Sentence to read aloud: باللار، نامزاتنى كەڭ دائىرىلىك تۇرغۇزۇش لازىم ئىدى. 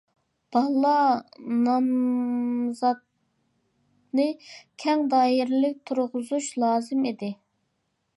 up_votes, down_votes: 0, 2